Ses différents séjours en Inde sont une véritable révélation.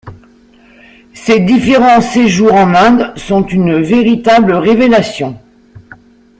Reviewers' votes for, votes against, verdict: 2, 0, accepted